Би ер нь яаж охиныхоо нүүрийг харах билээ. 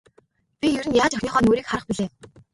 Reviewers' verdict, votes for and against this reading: accepted, 2, 0